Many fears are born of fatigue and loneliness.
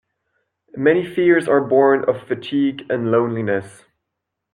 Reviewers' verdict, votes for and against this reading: accepted, 2, 0